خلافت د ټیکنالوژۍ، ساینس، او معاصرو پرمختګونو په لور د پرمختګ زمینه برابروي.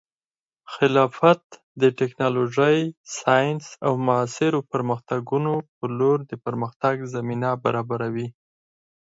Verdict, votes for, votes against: accepted, 4, 0